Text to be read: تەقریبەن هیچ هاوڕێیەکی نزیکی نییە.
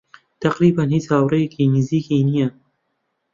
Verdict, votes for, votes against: accepted, 2, 0